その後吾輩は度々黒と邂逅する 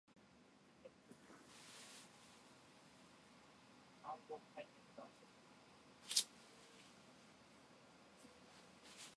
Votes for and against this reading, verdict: 2, 12, rejected